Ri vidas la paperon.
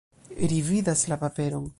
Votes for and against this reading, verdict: 2, 0, accepted